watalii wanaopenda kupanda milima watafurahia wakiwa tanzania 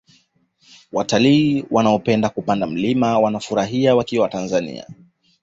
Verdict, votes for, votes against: accepted, 2, 0